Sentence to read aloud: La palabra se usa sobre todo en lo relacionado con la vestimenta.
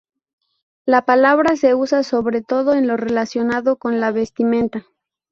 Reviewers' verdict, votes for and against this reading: accepted, 2, 0